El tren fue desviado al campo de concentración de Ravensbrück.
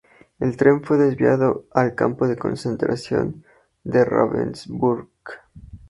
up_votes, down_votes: 2, 2